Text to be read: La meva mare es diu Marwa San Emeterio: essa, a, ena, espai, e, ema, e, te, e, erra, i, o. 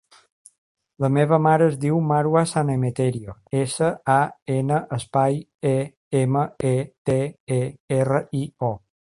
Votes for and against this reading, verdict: 3, 0, accepted